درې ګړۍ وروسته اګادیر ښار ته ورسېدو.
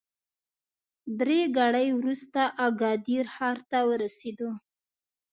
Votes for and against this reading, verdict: 2, 0, accepted